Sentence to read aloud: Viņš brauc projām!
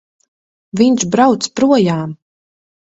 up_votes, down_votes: 1, 2